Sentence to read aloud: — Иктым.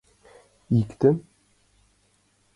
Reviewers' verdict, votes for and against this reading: accepted, 2, 1